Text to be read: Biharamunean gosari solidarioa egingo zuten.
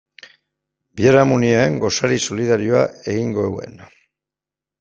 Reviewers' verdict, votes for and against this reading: rejected, 1, 2